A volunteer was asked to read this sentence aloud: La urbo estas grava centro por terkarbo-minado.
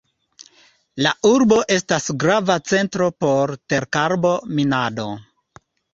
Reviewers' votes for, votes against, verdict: 2, 0, accepted